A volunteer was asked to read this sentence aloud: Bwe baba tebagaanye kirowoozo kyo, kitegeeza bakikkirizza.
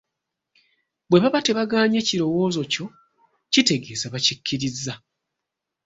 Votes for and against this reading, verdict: 2, 0, accepted